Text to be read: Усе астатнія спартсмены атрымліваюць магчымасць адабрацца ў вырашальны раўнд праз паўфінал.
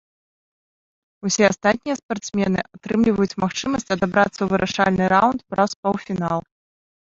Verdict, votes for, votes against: rejected, 0, 2